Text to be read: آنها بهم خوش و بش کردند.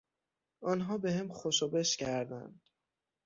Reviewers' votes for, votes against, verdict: 3, 6, rejected